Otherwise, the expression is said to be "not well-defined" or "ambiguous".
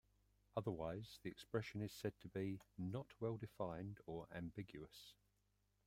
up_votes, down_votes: 1, 2